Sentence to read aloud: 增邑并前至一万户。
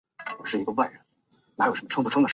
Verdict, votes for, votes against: rejected, 2, 2